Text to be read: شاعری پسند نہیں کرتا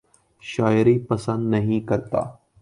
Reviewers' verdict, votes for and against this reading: accepted, 2, 0